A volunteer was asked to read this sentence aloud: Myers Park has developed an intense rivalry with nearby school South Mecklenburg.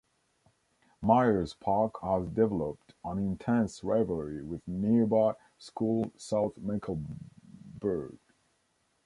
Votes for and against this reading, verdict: 1, 2, rejected